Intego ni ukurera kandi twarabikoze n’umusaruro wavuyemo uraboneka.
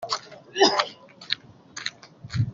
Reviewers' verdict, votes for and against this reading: rejected, 0, 2